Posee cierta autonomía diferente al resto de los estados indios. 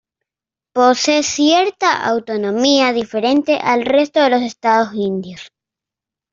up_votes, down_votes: 2, 0